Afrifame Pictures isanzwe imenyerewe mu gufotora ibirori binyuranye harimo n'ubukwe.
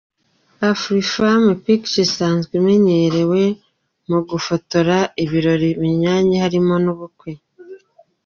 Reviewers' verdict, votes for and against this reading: accepted, 2, 0